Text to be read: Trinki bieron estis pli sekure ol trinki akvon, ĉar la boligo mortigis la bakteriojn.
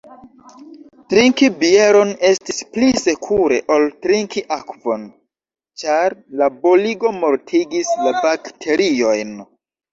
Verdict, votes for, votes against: accepted, 2, 1